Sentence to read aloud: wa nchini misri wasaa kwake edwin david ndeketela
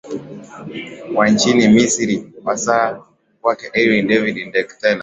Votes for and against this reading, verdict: 5, 0, accepted